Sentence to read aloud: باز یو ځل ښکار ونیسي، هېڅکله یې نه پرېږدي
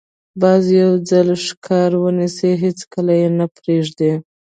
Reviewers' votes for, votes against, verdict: 2, 0, accepted